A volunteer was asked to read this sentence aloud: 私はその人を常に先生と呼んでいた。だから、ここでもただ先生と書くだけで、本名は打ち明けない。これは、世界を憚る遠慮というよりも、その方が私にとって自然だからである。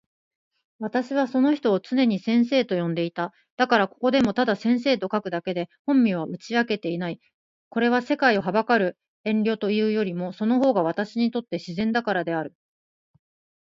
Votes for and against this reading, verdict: 2, 0, accepted